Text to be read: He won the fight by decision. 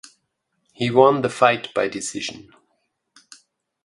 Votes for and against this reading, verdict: 2, 0, accepted